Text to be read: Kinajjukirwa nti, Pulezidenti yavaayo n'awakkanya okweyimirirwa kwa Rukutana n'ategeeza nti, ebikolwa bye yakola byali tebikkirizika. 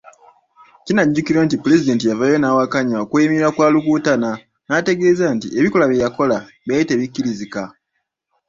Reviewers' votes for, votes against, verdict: 2, 0, accepted